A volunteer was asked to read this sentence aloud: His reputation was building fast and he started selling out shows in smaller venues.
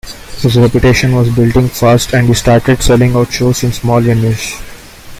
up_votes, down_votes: 2, 1